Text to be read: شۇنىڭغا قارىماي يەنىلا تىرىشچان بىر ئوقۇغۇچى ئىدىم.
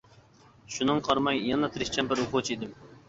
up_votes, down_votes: 1, 2